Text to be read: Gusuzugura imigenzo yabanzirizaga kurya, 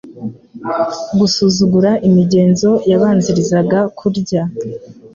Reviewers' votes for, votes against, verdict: 2, 0, accepted